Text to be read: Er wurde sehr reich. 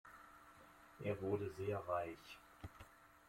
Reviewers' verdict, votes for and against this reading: accepted, 2, 1